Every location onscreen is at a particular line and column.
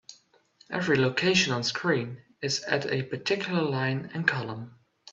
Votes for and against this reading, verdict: 2, 0, accepted